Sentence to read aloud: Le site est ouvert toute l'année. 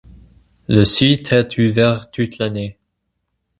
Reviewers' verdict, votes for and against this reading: accepted, 2, 0